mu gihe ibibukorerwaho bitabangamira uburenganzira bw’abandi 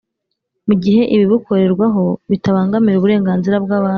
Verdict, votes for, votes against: rejected, 0, 2